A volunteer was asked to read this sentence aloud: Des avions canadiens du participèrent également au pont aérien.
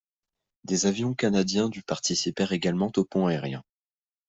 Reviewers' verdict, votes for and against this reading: accepted, 2, 0